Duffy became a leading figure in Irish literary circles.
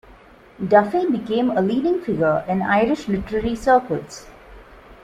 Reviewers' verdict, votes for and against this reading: accepted, 2, 0